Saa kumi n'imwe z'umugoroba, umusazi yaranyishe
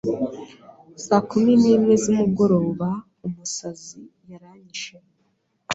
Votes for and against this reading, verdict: 2, 0, accepted